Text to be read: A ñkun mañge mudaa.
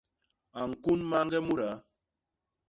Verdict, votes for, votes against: accepted, 2, 0